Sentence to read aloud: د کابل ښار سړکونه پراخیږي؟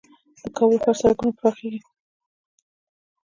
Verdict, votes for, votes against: accepted, 3, 0